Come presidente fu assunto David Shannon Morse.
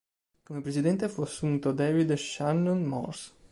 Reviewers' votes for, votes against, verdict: 0, 2, rejected